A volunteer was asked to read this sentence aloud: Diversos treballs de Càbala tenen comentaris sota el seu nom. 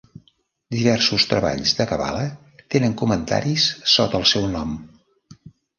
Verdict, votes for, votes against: rejected, 1, 2